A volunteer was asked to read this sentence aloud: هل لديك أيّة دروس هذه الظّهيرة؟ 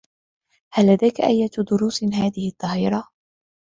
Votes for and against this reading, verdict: 2, 0, accepted